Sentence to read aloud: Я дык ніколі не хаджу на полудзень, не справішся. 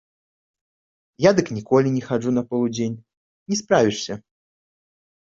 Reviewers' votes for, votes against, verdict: 2, 1, accepted